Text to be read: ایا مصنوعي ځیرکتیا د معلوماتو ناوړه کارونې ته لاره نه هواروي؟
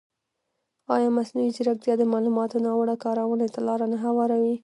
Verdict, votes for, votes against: rejected, 0, 2